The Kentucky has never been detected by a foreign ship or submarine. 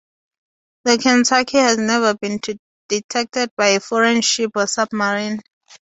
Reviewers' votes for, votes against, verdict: 2, 2, rejected